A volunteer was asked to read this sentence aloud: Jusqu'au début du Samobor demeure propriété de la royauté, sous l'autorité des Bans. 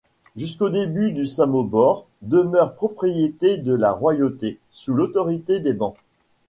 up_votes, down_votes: 2, 1